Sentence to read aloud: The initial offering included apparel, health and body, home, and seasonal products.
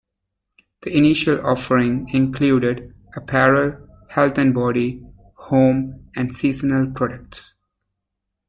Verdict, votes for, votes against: accepted, 2, 0